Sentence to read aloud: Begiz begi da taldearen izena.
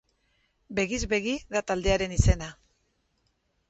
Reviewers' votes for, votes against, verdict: 4, 0, accepted